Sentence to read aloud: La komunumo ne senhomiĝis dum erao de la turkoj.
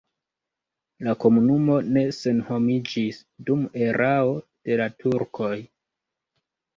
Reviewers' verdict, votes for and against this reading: rejected, 1, 2